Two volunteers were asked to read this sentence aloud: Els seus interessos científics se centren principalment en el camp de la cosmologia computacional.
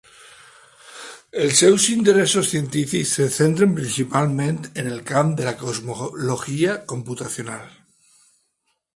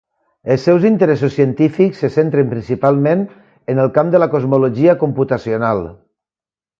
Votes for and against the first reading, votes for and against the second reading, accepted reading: 1, 2, 2, 0, second